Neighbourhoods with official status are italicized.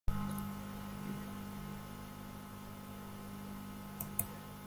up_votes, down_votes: 0, 2